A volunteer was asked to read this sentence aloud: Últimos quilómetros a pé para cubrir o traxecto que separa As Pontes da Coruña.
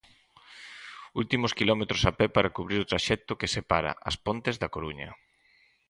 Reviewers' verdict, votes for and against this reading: accepted, 4, 0